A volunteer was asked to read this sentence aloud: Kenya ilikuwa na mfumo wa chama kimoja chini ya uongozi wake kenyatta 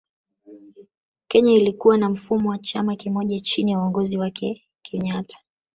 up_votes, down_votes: 2, 1